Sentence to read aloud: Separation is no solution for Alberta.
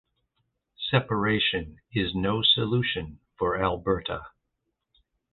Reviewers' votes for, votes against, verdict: 2, 0, accepted